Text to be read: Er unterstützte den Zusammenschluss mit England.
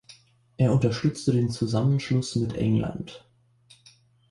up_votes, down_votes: 2, 0